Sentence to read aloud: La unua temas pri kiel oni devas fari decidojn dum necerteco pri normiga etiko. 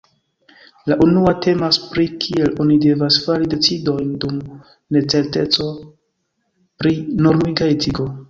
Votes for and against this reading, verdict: 1, 2, rejected